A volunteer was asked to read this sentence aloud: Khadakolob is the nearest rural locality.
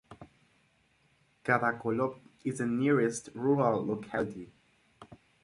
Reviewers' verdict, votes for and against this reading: accepted, 6, 2